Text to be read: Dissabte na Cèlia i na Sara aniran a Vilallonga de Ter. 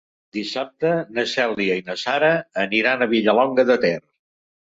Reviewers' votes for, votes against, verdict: 1, 2, rejected